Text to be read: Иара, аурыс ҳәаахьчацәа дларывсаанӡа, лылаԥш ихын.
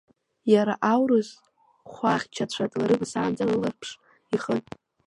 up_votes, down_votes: 0, 2